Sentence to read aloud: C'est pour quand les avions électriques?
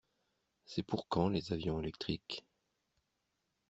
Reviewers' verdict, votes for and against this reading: accepted, 2, 0